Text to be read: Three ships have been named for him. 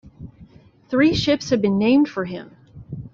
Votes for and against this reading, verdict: 2, 0, accepted